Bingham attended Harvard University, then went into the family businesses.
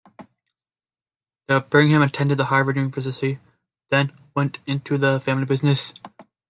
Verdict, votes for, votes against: rejected, 1, 2